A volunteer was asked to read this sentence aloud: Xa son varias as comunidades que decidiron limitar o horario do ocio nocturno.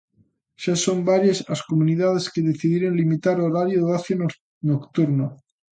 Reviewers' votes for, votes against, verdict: 0, 2, rejected